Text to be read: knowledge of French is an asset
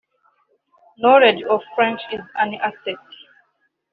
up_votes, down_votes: 1, 2